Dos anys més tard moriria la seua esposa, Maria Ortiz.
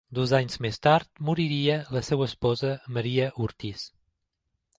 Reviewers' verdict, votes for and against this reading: accepted, 4, 0